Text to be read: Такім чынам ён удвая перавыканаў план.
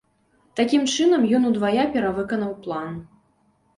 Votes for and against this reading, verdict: 2, 0, accepted